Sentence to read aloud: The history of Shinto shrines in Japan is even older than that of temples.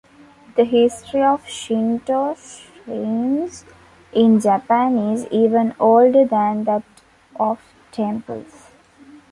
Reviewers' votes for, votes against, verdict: 0, 2, rejected